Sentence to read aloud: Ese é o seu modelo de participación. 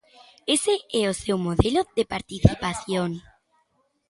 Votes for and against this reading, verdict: 2, 0, accepted